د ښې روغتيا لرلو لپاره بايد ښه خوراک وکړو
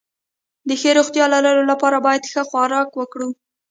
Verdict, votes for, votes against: rejected, 1, 2